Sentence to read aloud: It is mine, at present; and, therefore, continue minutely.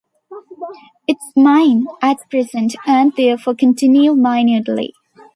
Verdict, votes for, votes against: rejected, 0, 2